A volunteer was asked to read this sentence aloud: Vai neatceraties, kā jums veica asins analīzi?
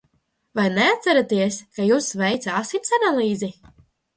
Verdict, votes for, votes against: accepted, 2, 0